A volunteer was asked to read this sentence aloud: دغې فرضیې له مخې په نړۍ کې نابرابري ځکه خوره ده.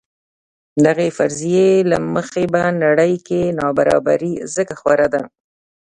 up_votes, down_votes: 0, 2